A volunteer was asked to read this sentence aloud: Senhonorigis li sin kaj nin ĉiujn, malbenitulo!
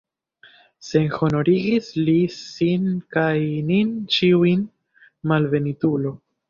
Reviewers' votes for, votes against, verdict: 2, 1, accepted